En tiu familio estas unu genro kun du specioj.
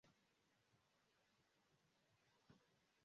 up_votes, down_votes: 1, 2